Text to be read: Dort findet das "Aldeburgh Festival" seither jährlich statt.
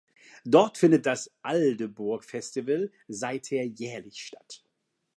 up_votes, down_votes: 2, 0